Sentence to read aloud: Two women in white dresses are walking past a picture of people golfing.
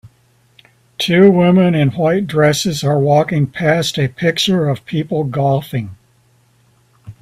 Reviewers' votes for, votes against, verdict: 4, 0, accepted